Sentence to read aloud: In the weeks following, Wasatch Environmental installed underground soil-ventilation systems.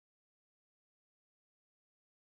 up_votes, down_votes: 0, 2